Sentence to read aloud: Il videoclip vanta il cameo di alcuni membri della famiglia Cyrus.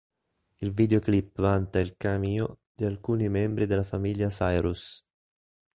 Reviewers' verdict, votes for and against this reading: rejected, 0, 2